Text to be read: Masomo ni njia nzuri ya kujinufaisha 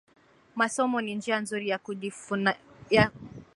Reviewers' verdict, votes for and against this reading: rejected, 0, 2